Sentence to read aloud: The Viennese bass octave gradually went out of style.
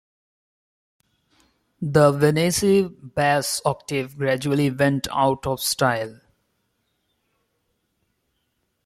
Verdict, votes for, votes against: rejected, 0, 2